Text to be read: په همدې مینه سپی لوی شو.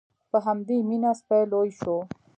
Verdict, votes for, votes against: accepted, 2, 0